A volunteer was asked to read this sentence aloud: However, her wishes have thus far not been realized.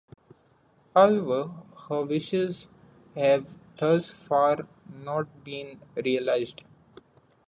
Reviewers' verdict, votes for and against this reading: rejected, 0, 2